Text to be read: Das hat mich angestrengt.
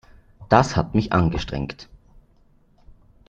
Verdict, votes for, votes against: accepted, 2, 0